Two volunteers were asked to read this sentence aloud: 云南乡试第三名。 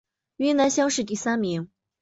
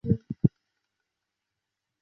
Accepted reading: first